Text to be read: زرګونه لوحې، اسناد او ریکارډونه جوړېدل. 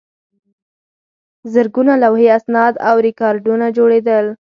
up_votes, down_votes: 2, 4